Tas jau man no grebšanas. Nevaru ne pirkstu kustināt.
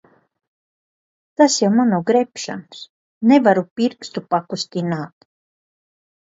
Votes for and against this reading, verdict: 0, 2, rejected